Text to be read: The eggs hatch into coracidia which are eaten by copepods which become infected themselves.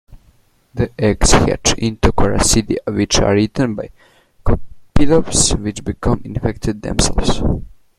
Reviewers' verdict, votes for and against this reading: rejected, 0, 2